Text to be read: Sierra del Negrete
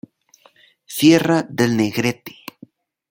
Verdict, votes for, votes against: accepted, 2, 0